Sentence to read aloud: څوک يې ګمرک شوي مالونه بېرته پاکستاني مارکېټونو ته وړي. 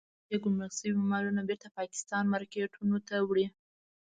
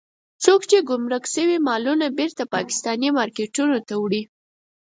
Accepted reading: second